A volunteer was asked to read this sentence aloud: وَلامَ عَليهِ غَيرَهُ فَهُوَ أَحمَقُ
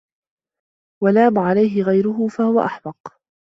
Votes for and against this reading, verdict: 1, 2, rejected